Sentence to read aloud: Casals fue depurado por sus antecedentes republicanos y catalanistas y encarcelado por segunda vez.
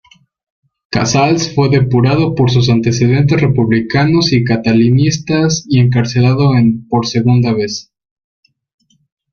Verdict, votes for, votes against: rejected, 0, 2